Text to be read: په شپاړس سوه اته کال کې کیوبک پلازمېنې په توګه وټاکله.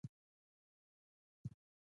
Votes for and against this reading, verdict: 0, 2, rejected